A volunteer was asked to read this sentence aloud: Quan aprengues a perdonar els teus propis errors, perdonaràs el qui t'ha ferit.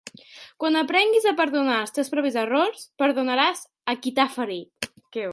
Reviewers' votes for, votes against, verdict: 3, 0, accepted